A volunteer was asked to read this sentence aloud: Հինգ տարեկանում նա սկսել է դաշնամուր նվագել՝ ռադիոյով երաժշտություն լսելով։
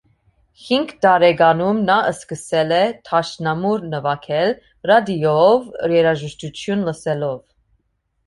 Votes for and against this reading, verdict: 2, 1, accepted